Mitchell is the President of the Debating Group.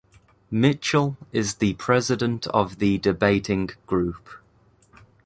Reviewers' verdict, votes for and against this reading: accepted, 2, 0